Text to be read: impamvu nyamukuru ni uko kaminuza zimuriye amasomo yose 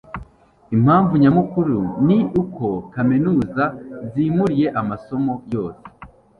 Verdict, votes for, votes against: accepted, 2, 0